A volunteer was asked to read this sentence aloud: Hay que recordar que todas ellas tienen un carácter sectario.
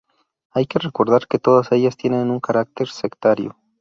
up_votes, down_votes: 2, 0